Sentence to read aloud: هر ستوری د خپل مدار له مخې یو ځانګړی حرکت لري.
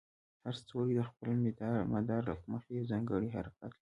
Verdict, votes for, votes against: rejected, 0, 2